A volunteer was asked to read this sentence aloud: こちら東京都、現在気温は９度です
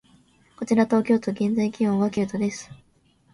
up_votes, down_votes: 0, 2